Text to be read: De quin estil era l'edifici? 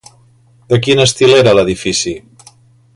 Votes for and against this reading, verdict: 2, 0, accepted